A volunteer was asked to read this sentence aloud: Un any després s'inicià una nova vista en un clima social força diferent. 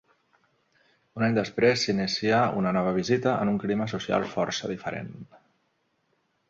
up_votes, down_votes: 0, 2